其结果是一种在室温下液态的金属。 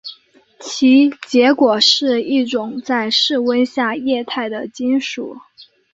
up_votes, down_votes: 2, 0